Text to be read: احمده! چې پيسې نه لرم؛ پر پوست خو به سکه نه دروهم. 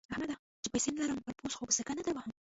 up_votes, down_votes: 1, 2